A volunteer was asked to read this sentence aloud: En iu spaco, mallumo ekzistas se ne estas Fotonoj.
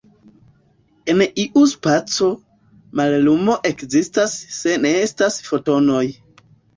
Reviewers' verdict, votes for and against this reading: accepted, 2, 0